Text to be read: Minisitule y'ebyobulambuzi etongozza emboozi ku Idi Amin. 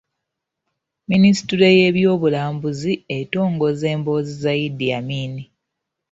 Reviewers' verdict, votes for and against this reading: rejected, 1, 2